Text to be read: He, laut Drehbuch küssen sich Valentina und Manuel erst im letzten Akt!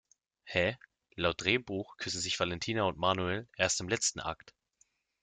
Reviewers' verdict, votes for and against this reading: accepted, 2, 0